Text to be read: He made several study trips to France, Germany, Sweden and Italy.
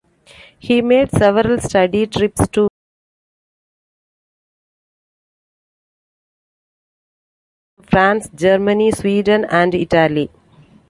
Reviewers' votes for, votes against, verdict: 0, 2, rejected